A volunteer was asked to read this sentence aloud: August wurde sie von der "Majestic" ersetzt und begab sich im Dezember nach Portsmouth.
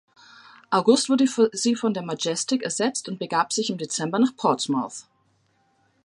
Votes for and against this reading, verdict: 1, 2, rejected